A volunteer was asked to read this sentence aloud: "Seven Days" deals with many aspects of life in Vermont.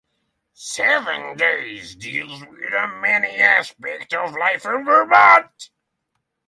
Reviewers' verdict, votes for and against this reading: accepted, 6, 0